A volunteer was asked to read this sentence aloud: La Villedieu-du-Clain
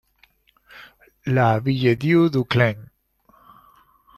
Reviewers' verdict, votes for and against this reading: accepted, 2, 0